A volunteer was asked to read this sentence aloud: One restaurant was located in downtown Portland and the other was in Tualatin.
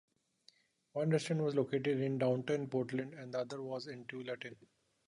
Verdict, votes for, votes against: rejected, 1, 2